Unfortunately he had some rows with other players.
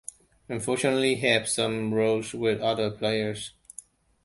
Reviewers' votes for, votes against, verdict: 1, 2, rejected